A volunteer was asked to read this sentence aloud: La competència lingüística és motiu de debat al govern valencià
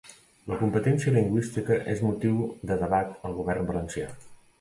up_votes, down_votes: 2, 0